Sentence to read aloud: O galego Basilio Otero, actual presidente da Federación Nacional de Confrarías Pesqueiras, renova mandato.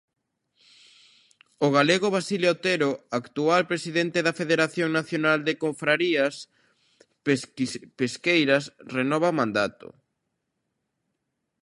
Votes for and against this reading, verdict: 0, 2, rejected